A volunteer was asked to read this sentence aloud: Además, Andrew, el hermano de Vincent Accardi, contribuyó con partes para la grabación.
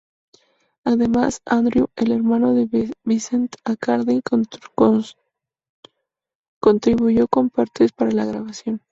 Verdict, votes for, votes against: rejected, 0, 2